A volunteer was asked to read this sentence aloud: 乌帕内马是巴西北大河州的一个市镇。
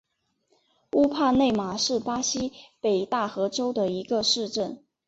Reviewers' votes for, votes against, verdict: 2, 0, accepted